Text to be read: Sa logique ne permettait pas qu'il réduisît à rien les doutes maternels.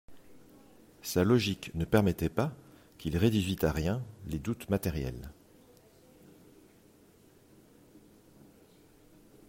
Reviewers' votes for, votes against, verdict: 0, 2, rejected